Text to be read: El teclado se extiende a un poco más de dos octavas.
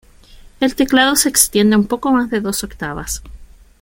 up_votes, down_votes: 2, 0